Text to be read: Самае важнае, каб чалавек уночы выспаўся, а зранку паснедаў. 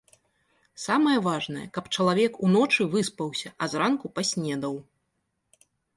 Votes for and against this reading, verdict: 2, 0, accepted